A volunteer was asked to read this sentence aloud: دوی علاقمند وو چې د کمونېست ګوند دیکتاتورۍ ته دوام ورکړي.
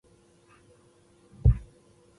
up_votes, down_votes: 1, 2